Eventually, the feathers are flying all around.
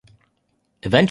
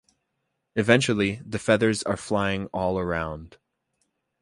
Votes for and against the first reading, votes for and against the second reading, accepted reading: 0, 2, 2, 0, second